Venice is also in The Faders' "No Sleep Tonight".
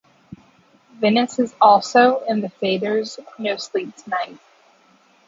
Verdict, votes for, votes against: accepted, 2, 0